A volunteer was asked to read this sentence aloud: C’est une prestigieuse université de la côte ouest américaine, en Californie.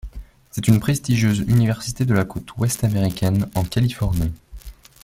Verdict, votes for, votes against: accepted, 2, 0